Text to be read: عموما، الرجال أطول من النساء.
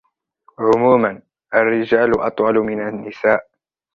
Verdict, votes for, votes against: rejected, 0, 2